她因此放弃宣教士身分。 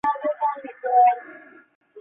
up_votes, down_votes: 0, 4